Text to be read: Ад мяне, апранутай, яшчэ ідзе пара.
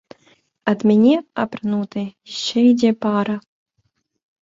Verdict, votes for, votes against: rejected, 1, 2